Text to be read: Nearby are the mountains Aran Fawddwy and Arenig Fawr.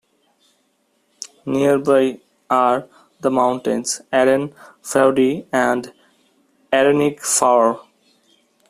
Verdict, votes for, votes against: rejected, 0, 2